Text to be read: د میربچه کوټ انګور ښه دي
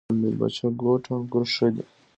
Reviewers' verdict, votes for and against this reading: accepted, 2, 0